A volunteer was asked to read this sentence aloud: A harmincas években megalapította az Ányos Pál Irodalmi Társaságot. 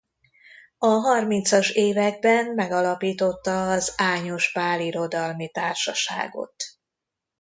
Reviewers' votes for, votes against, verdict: 2, 0, accepted